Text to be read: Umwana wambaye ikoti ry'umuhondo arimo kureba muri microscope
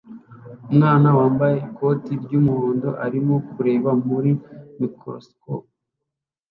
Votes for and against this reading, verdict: 2, 0, accepted